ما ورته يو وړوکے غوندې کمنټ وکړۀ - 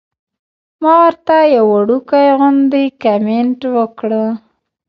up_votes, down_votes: 2, 0